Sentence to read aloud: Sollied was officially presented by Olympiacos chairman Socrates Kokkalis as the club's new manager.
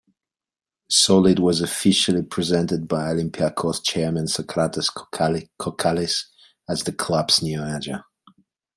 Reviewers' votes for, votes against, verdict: 0, 2, rejected